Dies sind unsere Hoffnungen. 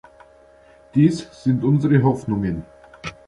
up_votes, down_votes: 2, 0